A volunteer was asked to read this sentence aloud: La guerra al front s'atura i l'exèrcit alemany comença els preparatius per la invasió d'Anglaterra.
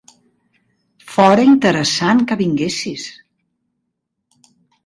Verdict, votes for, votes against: rejected, 0, 2